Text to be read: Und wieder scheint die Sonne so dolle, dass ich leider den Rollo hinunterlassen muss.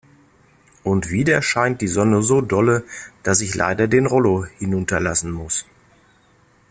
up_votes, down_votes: 2, 0